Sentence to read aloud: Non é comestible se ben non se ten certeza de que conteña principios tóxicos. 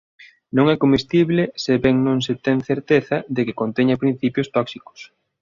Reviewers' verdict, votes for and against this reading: accepted, 2, 0